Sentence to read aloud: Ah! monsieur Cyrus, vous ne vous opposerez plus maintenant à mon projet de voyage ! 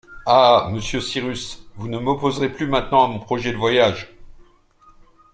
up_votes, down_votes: 1, 2